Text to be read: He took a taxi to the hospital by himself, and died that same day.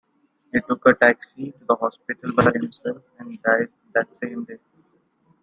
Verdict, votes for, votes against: rejected, 1, 2